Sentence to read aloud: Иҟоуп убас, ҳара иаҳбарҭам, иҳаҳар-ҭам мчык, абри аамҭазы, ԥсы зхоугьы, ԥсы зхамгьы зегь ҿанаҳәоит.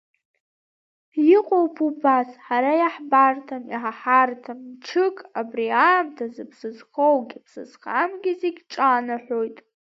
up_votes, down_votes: 2, 0